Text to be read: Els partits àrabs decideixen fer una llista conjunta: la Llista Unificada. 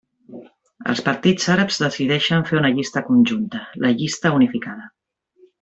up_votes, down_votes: 0, 2